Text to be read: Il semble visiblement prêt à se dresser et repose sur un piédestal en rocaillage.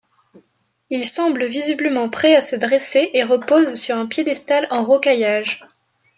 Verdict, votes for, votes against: accepted, 2, 0